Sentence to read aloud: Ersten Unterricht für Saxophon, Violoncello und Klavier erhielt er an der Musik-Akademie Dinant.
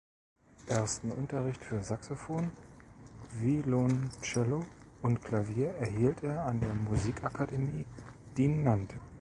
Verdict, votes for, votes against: rejected, 1, 2